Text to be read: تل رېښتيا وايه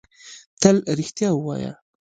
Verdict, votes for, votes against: accepted, 2, 1